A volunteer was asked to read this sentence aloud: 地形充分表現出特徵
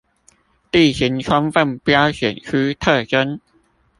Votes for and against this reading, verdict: 0, 2, rejected